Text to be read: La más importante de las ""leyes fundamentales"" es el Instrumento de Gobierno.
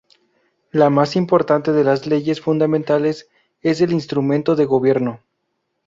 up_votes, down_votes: 0, 2